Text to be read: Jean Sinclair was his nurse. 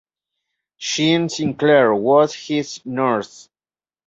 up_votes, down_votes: 1, 2